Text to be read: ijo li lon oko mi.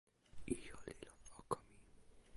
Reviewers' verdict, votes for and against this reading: rejected, 0, 2